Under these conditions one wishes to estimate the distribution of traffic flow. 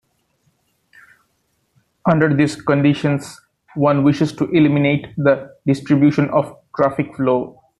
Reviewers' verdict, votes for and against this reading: rejected, 1, 2